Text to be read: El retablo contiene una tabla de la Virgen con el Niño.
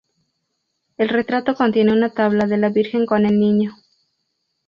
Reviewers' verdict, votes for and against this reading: rejected, 0, 2